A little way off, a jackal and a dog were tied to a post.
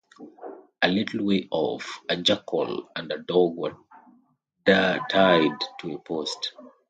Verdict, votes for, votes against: rejected, 0, 2